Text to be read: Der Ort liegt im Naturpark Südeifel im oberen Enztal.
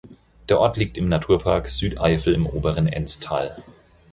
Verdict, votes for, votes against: accepted, 4, 0